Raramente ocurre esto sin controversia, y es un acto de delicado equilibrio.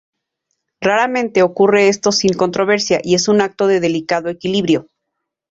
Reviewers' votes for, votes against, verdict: 2, 0, accepted